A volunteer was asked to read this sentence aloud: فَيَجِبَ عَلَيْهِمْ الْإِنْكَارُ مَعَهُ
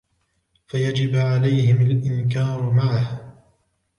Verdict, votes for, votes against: accepted, 3, 0